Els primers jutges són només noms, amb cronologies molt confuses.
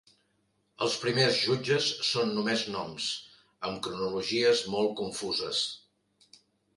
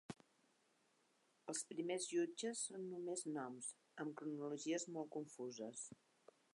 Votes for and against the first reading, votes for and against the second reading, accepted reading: 3, 0, 0, 2, first